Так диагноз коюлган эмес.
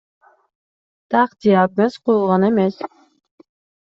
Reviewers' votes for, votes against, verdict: 2, 0, accepted